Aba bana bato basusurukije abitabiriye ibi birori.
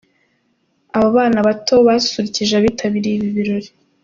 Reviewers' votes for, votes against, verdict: 2, 0, accepted